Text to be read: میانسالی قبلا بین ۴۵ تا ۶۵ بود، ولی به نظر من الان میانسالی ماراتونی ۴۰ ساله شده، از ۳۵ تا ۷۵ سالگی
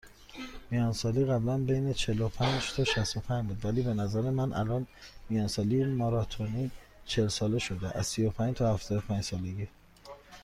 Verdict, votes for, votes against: rejected, 0, 2